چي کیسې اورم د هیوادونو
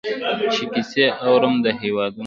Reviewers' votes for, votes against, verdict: 1, 2, rejected